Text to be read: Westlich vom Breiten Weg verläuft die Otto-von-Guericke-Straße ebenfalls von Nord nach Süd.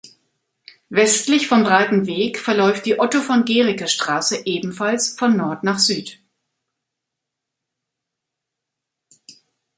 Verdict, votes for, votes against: rejected, 1, 2